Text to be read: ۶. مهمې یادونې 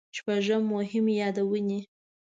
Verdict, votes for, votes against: rejected, 0, 2